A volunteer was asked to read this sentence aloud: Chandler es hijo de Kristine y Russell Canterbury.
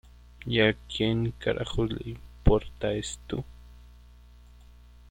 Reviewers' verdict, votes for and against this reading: rejected, 0, 2